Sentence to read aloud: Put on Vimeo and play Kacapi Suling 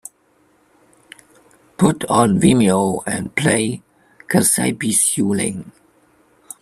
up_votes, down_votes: 1, 2